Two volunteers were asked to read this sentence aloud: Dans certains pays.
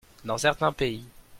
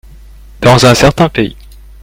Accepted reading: first